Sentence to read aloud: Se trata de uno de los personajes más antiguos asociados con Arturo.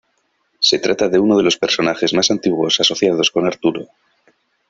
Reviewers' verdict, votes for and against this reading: accepted, 2, 0